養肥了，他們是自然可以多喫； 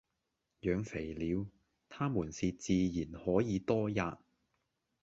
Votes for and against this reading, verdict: 2, 0, accepted